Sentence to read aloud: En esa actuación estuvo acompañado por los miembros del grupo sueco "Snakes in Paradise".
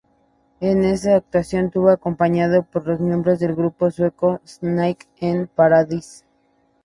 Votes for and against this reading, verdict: 0, 4, rejected